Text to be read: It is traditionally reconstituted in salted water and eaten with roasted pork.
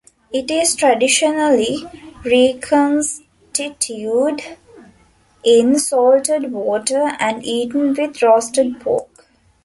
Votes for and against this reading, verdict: 0, 2, rejected